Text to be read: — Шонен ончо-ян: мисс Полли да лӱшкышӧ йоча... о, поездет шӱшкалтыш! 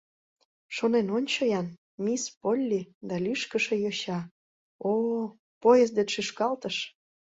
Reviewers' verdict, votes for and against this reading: accepted, 2, 0